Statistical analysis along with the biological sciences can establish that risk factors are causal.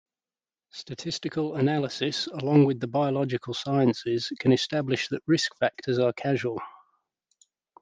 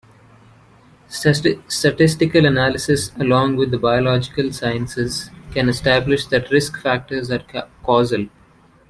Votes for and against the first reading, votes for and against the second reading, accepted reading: 2, 0, 1, 2, first